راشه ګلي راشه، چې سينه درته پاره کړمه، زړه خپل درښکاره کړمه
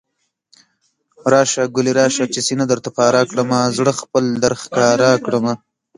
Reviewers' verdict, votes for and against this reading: accepted, 2, 0